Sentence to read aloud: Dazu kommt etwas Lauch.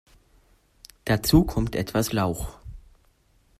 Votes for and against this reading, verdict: 0, 2, rejected